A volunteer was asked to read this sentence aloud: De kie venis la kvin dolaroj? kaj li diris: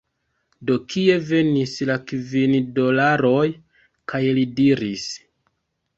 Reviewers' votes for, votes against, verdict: 1, 2, rejected